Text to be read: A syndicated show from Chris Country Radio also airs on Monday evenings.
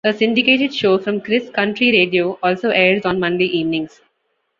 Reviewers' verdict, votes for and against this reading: accepted, 2, 0